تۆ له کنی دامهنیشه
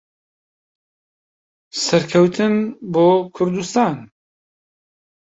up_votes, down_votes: 0, 4